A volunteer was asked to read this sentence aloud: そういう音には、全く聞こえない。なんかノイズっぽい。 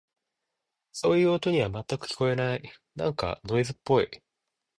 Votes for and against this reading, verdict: 2, 0, accepted